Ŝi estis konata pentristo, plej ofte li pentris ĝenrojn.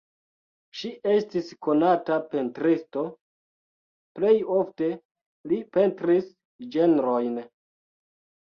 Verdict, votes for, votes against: rejected, 1, 2